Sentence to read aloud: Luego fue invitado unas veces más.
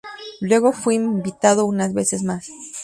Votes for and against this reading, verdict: 0, 2, rejected